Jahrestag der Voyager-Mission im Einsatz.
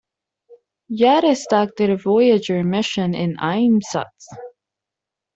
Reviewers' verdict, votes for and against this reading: rejected, 0, 2